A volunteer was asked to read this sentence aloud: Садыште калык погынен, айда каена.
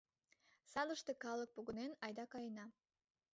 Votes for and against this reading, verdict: 2, 1, accepted